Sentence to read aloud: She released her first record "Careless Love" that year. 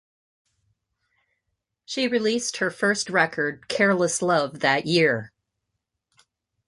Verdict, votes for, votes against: accepted, 2, 0